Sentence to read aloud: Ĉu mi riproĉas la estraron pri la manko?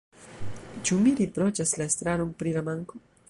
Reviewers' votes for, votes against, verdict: 0, 2, rejected